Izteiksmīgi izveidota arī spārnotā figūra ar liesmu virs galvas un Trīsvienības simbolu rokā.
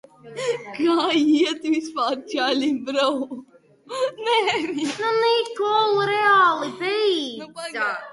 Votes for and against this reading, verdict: 0, 2, rejected